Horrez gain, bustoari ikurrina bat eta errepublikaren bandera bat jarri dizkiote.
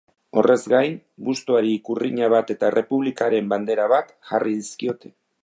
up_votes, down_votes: 2, 0